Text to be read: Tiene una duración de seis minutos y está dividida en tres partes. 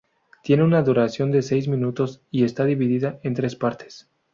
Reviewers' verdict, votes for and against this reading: accepted, 2, 0